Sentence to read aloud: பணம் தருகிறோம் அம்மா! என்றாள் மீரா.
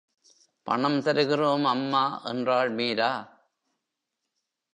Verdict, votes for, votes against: rejected, 1, 2